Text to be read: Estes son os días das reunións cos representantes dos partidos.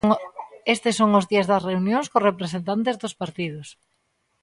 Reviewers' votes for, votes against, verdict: 0, 2, rejected